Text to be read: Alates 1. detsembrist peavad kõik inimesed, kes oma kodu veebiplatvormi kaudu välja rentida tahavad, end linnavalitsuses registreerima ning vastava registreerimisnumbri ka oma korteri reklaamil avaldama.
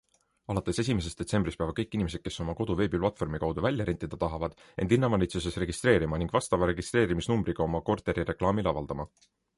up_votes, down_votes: 0, 2